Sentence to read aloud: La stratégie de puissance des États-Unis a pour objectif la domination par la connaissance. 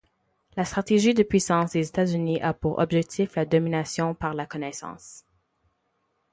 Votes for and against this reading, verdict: 4, 0, accepted